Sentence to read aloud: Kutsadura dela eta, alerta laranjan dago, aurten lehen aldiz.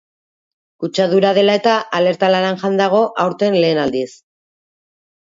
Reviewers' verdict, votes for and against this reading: accepted, 2, 0